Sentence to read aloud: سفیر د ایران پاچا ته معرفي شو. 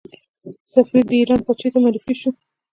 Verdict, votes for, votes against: accepted, 2, 1